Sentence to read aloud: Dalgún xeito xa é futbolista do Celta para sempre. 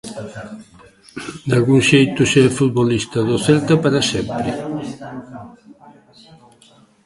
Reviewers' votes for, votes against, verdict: 0, 2, rejected